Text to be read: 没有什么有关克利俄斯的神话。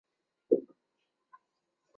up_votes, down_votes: 1, 2